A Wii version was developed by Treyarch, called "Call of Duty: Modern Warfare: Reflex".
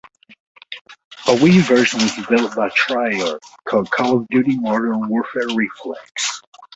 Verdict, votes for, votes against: rejected, 1, 2